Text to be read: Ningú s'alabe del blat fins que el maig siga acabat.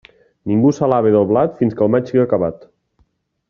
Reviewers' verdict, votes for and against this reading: accepted, 2, 0